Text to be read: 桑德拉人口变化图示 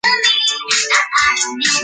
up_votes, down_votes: 0, 3